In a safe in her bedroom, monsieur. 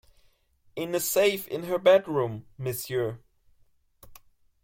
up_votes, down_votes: 2, 1